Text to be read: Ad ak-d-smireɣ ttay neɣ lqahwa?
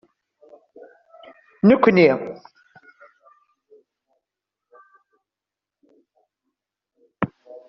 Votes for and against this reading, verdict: 0, 2, rejected